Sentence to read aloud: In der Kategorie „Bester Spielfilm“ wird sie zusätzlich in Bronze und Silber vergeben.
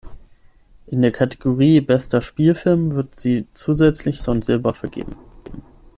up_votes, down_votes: 0, 6